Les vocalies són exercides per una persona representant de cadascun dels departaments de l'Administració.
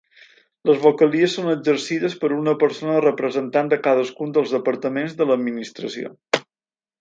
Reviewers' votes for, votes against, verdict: 4, 0, accepted